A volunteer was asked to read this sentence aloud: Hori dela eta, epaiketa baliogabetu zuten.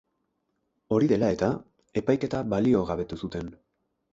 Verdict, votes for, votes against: accepted, 6, 0